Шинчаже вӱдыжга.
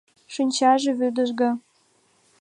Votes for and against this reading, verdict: 3, 0, accepted